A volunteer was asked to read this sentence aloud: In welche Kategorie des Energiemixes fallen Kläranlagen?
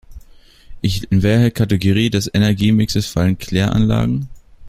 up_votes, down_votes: 0, 2